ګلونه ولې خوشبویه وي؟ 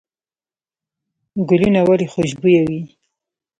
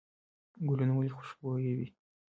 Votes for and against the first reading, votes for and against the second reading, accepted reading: 0, 2, 2, 0, second